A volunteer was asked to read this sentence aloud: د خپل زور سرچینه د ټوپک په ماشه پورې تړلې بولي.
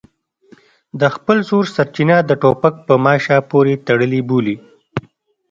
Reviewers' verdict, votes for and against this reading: accepted, 2, 0